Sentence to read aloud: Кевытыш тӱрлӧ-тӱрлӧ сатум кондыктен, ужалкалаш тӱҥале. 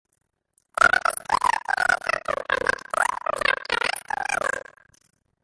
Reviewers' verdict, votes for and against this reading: rejected, 0, 2